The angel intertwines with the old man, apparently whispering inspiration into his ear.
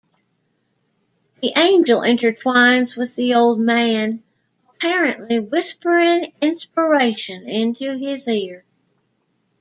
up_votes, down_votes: 2, 0